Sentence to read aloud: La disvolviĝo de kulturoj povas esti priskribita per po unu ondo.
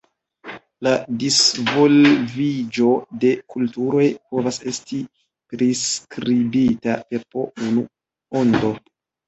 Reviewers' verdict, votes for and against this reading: rejected, 2, 3